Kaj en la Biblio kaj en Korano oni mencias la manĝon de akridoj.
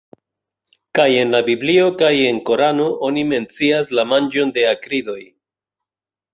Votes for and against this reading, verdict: 3, 0, accepted